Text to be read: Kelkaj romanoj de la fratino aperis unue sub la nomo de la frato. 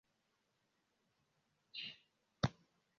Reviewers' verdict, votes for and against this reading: rejected, 0, 2